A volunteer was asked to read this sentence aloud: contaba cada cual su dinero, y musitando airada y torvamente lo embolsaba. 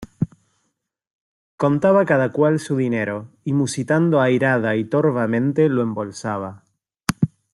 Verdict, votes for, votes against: accepted, 2, 0